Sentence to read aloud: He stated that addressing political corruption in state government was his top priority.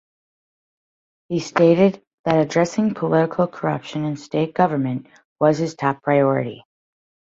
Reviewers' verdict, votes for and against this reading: accepted, 2, 0